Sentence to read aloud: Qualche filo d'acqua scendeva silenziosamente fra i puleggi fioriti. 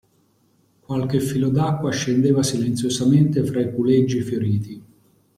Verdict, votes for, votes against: accepted, 2, 0